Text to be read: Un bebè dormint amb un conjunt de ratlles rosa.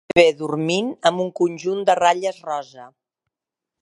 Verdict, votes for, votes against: rejected, 0, 2